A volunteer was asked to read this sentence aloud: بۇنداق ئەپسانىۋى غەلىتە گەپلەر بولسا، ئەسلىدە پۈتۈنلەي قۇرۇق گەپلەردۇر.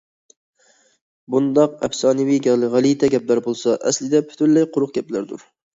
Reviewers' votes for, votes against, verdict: 1, 2, rejected